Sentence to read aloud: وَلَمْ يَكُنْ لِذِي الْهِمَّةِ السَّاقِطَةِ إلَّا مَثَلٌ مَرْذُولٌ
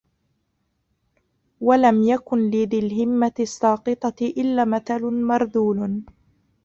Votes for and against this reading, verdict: 0, 2, rejected